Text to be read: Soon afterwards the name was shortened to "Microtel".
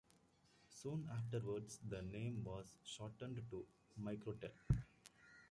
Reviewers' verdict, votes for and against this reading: rejected, 1, 2